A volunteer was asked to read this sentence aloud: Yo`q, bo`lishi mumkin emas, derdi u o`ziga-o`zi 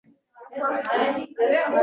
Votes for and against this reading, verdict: 0, 2, rejected